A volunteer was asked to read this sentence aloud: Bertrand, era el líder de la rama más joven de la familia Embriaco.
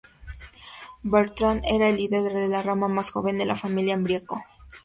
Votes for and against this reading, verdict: 2, 2, rejected